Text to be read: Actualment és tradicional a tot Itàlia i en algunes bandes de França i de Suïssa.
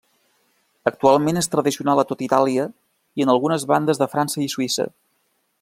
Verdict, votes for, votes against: rejected, 1, 2